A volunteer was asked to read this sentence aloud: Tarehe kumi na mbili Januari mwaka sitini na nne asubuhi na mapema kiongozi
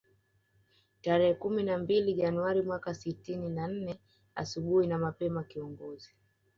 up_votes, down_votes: 2, 0